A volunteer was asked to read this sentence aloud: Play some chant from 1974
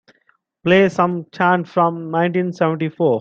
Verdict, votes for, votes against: rejected, 0, 2